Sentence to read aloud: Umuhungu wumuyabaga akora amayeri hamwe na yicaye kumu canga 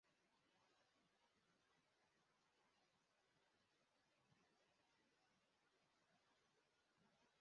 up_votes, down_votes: 0, 2